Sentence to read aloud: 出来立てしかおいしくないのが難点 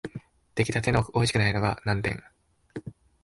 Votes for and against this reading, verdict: 0, 2, rejected